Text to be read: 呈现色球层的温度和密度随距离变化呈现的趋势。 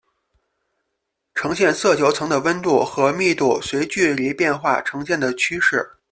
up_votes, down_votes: 2, 0